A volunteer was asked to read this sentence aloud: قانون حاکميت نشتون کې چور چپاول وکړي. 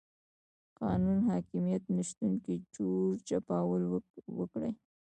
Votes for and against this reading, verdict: 1, 2, rejected